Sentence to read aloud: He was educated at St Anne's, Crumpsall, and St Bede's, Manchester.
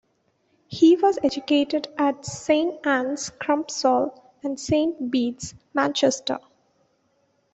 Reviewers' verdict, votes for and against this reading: accepted, 2, 0